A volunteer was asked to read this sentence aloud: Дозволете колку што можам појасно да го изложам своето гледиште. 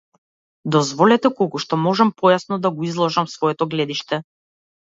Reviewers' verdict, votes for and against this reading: accepted, 2, 0